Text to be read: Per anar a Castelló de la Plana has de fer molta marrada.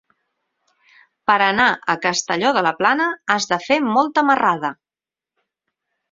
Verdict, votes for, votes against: rejected, 0, 4